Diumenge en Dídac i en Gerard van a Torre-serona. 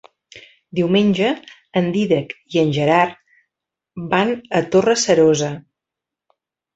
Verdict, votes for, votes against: rejected, 1, 2